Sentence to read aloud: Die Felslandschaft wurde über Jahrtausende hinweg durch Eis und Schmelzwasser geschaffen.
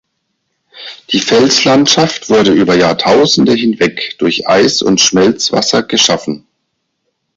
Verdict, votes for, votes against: rejected, 2, 4